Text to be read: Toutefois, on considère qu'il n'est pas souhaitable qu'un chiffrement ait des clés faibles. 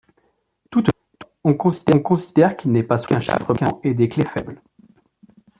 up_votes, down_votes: 1, 2